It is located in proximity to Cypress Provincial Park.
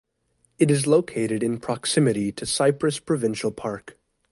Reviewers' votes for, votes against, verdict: 2, 0, accepted